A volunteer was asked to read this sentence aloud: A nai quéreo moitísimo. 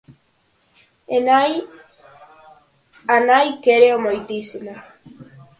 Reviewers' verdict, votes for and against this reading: rejected, 0, 4